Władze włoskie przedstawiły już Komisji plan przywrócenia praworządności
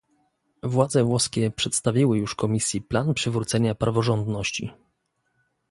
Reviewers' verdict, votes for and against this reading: accepted, 2, 1